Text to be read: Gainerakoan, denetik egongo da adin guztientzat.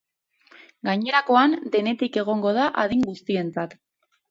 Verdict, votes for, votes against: accepted, 2, 0